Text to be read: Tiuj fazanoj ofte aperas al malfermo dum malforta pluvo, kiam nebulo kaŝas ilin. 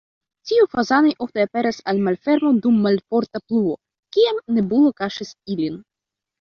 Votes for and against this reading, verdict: 1, 2, rejected